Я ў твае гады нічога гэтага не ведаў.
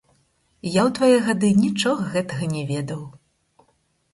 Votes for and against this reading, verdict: 2, 4, rejected